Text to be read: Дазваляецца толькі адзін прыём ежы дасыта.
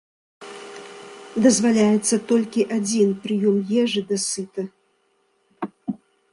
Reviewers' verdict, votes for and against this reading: rejected, 1, 2